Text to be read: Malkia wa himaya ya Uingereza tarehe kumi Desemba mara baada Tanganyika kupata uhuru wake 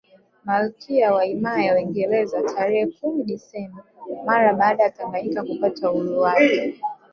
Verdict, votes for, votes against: rejected, 1, 2